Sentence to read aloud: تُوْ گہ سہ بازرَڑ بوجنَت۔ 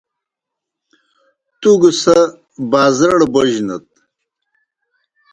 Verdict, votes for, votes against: accepted, 2, 0